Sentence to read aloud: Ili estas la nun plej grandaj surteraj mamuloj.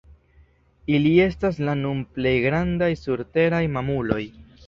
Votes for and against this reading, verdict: 2, 0, accepted